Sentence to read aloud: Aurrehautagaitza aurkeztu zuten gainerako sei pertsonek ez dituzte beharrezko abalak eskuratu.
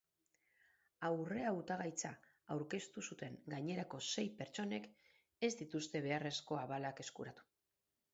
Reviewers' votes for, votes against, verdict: 2, 4, rejected